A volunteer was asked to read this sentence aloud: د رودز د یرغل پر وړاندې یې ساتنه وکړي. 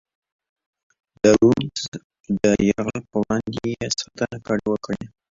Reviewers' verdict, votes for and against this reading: accepted, 2, 1